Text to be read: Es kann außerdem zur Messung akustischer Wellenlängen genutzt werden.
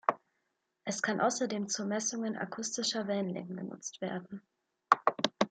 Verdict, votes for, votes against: rejected, 1, 2